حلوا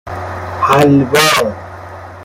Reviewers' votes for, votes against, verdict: 1, 2, rejected